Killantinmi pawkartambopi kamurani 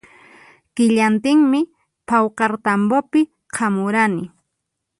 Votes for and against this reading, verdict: 0, 4, rejected